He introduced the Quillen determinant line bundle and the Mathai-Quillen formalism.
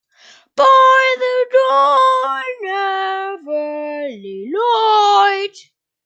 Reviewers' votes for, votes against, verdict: 0, 2, rejected